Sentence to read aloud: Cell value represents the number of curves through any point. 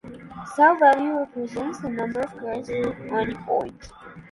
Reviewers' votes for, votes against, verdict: 0, 2, rejected